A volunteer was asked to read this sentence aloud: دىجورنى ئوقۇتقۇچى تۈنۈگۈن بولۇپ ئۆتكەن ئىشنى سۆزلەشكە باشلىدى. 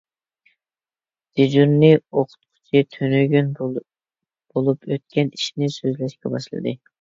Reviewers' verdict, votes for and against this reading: rejected, 0, 2